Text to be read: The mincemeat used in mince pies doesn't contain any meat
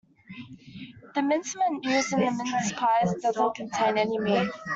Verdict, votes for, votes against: rejected, 1, 2